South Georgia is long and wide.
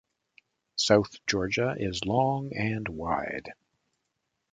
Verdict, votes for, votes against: accepted, 2, 0